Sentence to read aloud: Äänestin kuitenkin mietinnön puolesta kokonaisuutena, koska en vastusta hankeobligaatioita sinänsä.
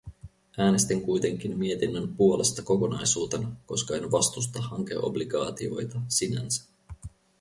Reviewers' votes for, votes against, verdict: 2, 2, rejected